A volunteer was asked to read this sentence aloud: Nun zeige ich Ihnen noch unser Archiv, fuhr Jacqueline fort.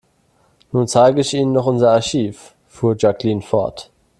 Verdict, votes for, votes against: accepted, 2, 0